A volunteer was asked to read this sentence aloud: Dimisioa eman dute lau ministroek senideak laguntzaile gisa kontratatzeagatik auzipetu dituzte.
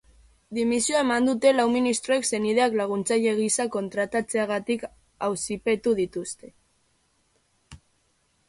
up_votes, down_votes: 1, 2